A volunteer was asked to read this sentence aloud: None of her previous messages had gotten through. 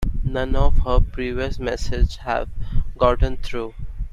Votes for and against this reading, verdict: 0, 2, rejected